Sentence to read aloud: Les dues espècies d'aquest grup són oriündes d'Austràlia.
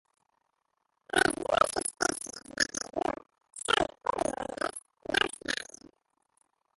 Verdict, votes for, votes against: rejected, 0, 3